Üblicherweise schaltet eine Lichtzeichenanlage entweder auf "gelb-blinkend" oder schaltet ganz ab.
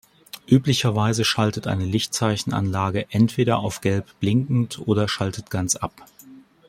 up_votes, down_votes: 2, 0